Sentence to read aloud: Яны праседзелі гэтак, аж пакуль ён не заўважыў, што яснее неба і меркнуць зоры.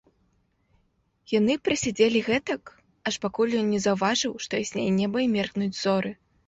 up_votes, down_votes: 1, 2